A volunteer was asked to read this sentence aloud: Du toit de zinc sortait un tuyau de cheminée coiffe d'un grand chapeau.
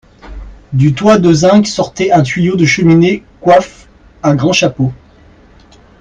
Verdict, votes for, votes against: rejected, 1, 3